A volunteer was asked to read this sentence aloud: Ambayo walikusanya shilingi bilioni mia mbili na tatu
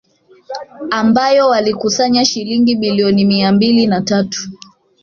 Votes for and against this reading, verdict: 1, 2, rejected